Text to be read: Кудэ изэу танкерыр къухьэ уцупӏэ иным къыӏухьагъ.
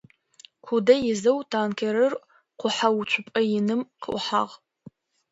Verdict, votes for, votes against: accepted, 2, 0